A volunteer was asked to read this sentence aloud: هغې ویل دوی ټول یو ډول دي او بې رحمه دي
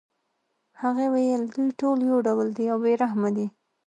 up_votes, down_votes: 2, 1